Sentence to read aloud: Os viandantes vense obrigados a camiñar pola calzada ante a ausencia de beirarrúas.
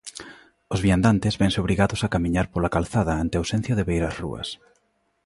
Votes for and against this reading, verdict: 2, 0, accepted